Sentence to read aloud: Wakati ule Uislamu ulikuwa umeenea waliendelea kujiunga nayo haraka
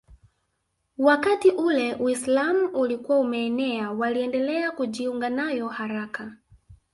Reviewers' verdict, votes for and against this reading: rejected, 0, 2